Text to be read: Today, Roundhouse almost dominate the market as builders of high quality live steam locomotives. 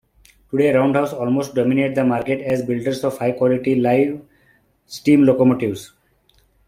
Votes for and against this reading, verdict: 2, 1, accepted